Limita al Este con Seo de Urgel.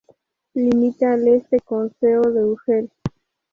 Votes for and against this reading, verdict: 4, 0, accepted